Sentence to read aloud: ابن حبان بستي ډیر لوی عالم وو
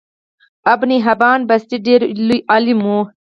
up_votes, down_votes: 4, 6